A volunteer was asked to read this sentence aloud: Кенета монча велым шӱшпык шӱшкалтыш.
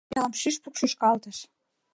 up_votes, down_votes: 0, 2